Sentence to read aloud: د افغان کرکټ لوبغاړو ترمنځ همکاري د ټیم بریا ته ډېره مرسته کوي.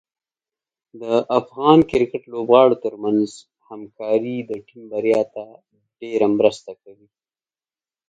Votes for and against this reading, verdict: 2, 0, accepted